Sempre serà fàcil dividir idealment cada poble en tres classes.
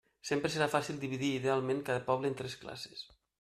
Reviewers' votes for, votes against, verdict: 3, 0, accepted